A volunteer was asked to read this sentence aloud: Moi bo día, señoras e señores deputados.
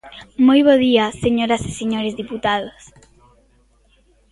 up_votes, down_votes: 2, 1